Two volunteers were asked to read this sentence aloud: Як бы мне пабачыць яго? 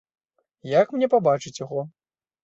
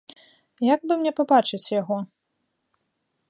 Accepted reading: second